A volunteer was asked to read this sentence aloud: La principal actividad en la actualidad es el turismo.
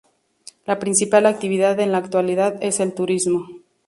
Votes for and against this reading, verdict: 4, 0, accepted